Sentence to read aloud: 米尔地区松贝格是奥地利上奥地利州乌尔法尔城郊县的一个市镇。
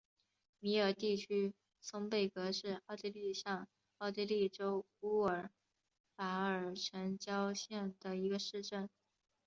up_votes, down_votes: 4, 0